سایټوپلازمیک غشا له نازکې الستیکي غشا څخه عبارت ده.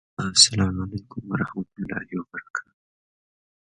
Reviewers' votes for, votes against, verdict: 0, 2, rejected